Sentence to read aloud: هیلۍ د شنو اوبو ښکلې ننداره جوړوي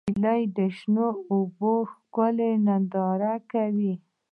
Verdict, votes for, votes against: accepted, 2, 0